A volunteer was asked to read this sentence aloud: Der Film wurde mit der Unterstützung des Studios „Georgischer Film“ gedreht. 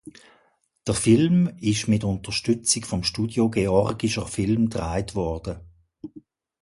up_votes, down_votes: 0, 2